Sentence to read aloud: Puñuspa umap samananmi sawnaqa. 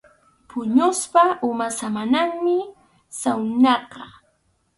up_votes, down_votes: 4, 0